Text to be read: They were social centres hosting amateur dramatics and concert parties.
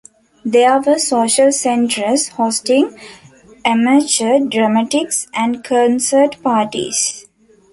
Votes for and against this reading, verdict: 1, 2, rejected